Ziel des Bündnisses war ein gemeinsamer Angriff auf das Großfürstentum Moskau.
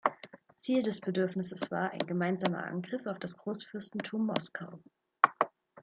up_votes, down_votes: 1, 2